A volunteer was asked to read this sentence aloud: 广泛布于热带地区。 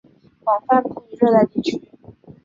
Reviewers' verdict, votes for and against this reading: rejected, 2, 2